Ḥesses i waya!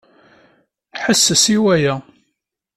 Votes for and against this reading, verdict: 2, 0, accepted